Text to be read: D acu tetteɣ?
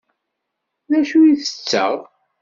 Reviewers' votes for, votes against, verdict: 2, 0, accepted